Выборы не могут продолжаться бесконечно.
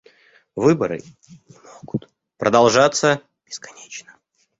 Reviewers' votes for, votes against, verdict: 0, 2, rejected